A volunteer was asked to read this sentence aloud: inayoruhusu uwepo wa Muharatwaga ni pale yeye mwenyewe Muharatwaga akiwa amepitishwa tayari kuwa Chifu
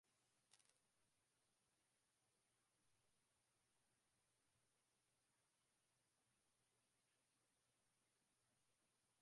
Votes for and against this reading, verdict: 0, 2, rejected